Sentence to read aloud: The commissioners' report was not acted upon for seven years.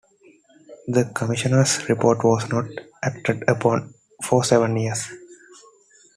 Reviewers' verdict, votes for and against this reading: accepted, 2, 1